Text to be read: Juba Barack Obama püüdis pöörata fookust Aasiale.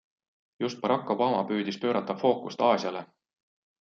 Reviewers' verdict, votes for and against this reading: rejected, 0, 2